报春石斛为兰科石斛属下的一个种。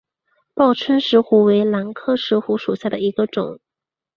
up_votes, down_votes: 2, 0